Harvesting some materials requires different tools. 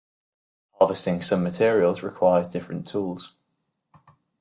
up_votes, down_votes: 2, 0